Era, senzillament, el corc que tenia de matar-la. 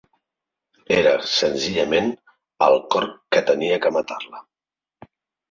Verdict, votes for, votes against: rejected, 0, 2